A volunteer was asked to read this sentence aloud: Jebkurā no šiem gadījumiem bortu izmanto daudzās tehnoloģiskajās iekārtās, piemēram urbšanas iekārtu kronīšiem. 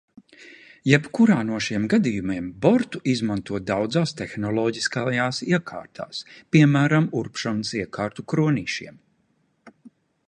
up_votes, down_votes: 2, 0